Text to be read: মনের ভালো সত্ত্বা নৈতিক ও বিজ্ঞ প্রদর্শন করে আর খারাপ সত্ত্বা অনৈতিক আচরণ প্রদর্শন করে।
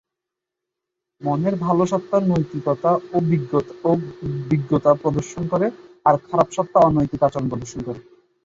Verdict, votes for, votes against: rejected, 0, 2